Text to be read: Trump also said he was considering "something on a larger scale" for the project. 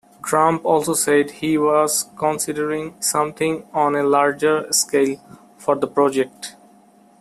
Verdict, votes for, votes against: accepted, 2, 0